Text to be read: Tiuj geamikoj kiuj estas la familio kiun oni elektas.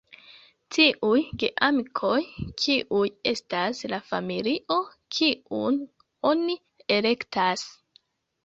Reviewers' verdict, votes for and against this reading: rejected, 1, 2